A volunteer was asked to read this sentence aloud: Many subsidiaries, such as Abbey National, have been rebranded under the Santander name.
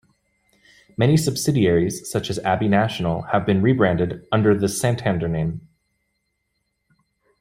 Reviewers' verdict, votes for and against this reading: accepted, 2, 0